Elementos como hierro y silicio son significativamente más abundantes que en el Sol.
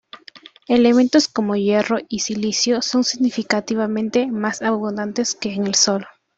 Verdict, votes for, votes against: accepted, 2, 0